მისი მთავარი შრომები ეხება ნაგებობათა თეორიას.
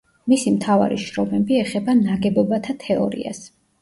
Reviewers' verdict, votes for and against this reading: accepted, 2, 0